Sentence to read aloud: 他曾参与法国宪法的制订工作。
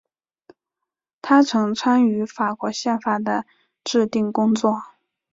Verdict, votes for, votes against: accepted, 2, 1